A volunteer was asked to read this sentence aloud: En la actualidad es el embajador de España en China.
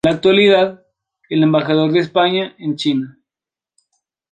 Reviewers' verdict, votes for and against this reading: rejected, 0, 2